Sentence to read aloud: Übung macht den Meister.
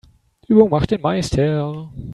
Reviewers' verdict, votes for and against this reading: accepted, 3, 1